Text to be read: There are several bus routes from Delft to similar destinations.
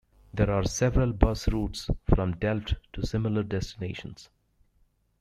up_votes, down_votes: 2, 0